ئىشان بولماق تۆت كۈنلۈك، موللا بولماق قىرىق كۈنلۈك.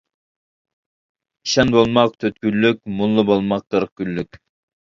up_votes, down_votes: 1, 2